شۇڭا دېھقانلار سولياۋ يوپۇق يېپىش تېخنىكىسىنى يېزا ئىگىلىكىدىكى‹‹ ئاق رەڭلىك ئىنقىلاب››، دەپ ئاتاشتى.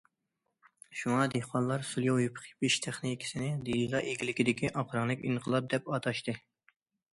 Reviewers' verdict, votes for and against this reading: rejected, 0, 2